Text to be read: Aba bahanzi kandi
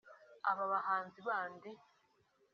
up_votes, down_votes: 1, 2